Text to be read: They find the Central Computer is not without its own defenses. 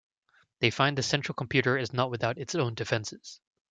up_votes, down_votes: 0, 2